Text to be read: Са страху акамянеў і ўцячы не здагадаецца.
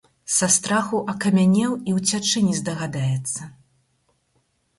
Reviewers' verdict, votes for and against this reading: accepted, 4, 0